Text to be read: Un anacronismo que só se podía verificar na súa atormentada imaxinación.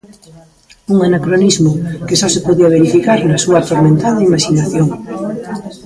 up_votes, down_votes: 0, 2